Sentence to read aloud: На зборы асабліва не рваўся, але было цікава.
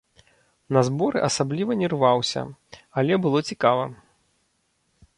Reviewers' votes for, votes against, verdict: 0, 2, rejected